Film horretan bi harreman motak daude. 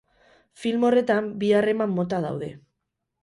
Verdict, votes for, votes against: rejected, 0, 4